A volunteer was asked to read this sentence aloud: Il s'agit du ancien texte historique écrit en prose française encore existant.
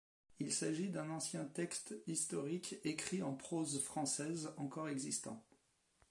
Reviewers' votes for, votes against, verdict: 2, 1, accepted